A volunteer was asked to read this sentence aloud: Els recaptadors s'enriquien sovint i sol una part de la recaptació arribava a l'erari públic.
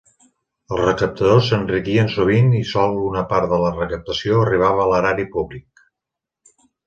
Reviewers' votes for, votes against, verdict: 3, 0, accepted